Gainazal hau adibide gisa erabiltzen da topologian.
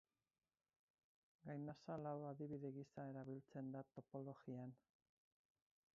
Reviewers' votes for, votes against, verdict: 0, 4, rejected